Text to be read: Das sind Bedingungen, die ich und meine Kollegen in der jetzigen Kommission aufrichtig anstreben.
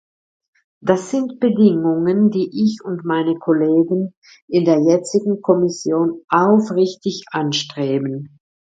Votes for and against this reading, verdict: 2, 0, accepted